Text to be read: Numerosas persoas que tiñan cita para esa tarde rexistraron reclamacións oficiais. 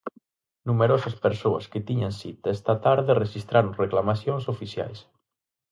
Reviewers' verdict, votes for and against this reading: rejected, 0, 4